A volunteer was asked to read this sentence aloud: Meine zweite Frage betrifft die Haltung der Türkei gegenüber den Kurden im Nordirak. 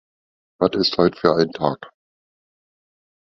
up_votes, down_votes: 0, 2